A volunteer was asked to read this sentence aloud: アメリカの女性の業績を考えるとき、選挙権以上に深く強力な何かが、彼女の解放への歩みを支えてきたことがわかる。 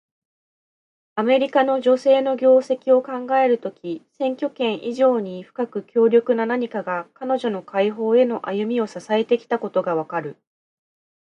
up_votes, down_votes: 2, 0